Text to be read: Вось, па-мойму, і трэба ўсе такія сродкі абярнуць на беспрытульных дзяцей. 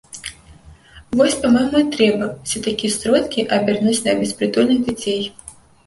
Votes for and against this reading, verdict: 0, 2, rejected